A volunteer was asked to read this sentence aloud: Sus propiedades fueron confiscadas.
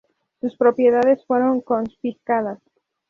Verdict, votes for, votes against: accepted, 2, 0